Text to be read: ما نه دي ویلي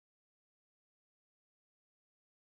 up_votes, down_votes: 0, 2